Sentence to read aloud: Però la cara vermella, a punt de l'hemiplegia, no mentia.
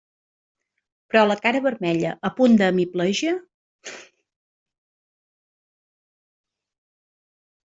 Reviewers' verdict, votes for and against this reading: rejected, 0, 2